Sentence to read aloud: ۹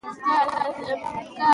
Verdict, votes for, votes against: rejected, 0, 2